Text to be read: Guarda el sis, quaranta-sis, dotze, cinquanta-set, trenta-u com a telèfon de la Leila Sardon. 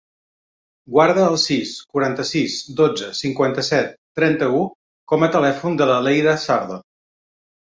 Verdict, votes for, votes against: accepted, 3, 0